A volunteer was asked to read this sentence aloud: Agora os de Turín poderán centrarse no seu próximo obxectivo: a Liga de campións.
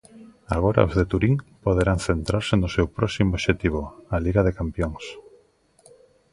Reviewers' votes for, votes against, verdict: 2, 0, accepted